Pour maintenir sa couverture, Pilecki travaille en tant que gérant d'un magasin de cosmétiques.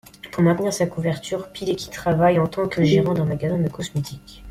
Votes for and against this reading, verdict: 1, 2, rejected